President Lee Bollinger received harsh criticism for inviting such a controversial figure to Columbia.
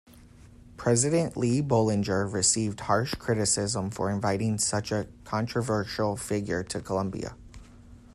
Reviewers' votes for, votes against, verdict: 2, 0, accepted